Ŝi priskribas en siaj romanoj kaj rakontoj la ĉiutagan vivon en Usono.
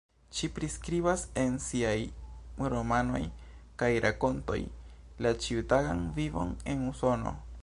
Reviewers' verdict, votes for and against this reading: accepted, 2, 1